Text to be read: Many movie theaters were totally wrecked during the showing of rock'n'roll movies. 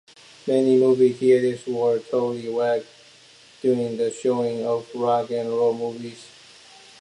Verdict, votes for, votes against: accepted, 2, 1